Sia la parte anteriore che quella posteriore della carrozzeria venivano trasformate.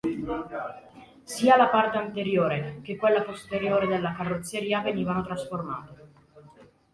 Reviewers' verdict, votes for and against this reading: accepted, 2, 1